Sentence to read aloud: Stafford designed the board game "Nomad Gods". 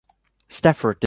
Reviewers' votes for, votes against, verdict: 1, 2, rejected